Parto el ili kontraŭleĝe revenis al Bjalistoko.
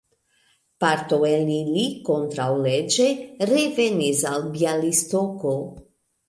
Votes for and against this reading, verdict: 2, 0, accepted